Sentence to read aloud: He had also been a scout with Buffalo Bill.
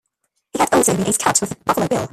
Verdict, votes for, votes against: rejected, 1, 2